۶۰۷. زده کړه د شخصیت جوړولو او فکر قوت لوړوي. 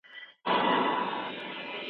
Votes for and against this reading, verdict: 0, 2, rejected